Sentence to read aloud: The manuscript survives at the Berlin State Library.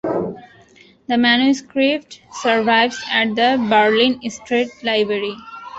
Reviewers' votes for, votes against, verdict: 0, 2, rejected